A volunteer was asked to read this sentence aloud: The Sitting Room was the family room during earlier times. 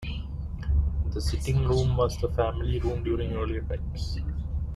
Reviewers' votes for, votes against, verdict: 2, 0, accepted